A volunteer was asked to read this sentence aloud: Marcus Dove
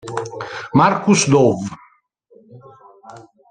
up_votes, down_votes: 2, 0